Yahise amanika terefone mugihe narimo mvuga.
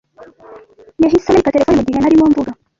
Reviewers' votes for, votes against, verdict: 1, 2, rejected